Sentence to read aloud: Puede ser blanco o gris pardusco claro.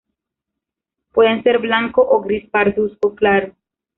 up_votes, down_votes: 0, 2